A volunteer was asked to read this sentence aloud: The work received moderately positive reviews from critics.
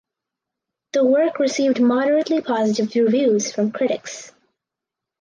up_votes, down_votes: 4, 0